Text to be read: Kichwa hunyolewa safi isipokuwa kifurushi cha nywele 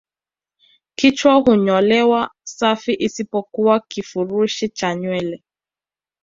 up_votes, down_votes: 2, 0